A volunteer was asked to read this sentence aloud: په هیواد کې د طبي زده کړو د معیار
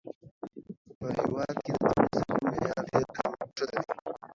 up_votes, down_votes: 1, 2